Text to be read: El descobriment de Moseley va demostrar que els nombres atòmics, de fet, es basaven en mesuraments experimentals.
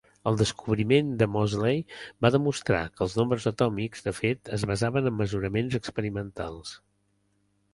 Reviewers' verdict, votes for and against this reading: accepted, 3, 0